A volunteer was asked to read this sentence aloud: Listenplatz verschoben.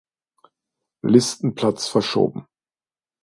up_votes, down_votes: 2, 0